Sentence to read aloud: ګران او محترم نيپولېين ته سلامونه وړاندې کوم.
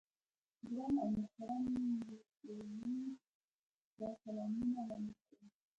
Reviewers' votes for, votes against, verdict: 1, 2, rejected